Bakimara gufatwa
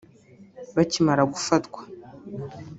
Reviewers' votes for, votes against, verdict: 1, 2, rejected